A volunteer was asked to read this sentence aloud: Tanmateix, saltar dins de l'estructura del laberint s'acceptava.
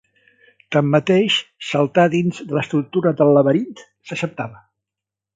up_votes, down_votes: 1, 3